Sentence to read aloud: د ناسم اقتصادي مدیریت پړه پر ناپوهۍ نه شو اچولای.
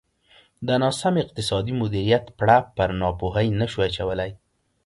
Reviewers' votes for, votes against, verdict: 2, 0, accepted